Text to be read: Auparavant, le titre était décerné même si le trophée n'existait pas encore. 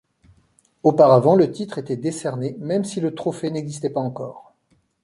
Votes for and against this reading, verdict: 2, 0, accepted